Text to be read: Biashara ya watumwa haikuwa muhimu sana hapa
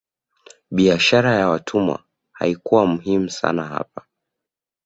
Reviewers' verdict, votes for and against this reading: accepted, 2, 0